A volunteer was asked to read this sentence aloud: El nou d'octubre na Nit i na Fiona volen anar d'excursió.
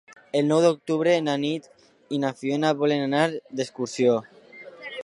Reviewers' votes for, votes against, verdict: 2, 0, accepted